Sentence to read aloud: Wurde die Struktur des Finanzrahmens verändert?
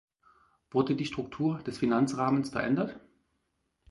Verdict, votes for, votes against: accepted, 4, 0